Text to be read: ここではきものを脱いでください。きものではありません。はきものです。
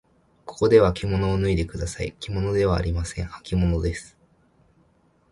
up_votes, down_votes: 2, 0